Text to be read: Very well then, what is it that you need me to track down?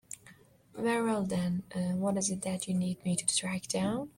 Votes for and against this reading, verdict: 2, 1, accepted